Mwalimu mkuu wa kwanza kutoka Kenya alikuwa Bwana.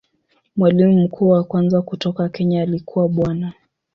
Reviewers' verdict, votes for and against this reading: accepted, 2, 0